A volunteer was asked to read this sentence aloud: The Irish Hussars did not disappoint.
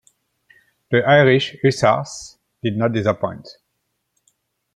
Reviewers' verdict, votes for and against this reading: accepted, 2, 1